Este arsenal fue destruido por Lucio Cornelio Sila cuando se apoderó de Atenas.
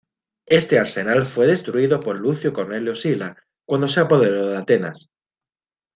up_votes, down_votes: 2, 0